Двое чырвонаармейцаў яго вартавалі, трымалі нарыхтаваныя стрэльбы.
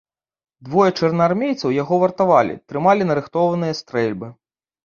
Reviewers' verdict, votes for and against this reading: rejected, 0, 2